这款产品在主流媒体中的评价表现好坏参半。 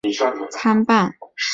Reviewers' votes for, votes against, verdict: 2, 3, rejected